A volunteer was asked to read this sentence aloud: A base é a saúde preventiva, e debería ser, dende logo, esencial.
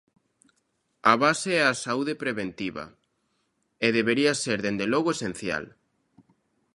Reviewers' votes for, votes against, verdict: 2, 0, accepted